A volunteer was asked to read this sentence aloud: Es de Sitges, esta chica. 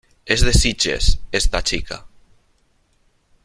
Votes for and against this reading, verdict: 3, 0, accepted